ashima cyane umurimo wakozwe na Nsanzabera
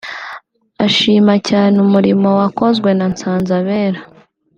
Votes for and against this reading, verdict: 2, 0, accepted